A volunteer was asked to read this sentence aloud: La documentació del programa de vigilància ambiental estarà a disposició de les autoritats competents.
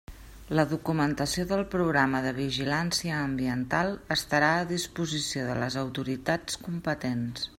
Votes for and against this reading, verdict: 3, 0, accepted